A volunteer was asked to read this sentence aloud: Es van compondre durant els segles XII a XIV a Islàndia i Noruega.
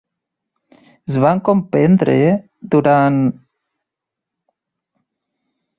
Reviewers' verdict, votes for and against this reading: rejected, 0, 2